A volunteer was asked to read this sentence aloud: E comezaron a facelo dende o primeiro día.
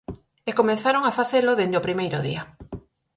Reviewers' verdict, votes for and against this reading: accepted, 4, 0